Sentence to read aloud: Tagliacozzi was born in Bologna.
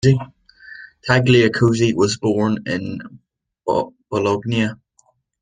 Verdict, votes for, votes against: rejected, 1, 2